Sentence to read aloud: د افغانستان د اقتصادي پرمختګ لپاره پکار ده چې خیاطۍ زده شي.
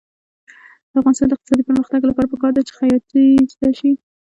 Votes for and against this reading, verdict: 0, 2, rejected